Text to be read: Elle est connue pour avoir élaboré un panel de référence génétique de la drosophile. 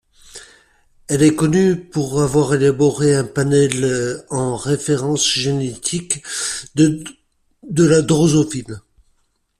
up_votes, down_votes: 0, 2